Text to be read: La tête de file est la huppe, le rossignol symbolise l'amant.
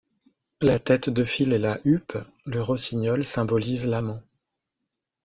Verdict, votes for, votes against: rejected, 0, 2